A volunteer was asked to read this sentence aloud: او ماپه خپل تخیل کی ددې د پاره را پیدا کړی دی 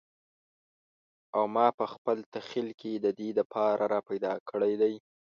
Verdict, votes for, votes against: rejected, 0, 2